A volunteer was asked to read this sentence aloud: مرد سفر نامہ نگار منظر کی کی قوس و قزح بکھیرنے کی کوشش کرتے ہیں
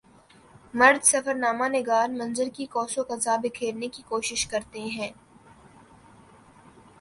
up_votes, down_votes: 3, 0